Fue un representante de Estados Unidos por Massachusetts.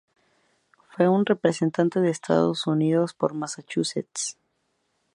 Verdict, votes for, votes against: accepted, 2, 0